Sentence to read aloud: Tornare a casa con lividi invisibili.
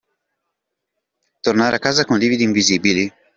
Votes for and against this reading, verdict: 2, 0, accepted